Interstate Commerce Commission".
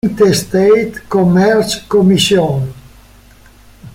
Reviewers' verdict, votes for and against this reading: rejected, 0, 2